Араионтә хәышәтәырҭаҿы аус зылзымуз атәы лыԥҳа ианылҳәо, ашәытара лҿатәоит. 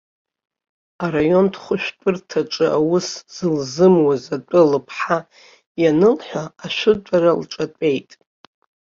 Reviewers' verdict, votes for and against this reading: rejected, 0, 2